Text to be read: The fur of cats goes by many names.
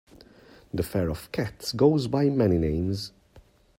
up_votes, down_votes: 2, 0